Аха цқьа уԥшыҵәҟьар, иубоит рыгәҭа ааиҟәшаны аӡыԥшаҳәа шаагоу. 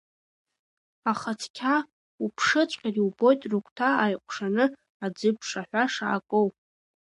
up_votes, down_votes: 2, 0